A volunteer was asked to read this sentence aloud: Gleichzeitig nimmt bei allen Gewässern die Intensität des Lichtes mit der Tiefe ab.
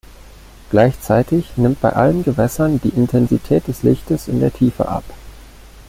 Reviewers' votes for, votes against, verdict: 0, 2, rejected